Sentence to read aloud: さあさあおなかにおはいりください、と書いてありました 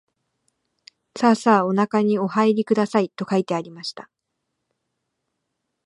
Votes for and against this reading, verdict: 2, 0, accepted